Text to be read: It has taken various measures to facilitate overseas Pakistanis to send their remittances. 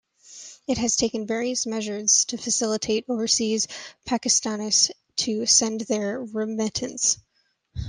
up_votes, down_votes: 1, 2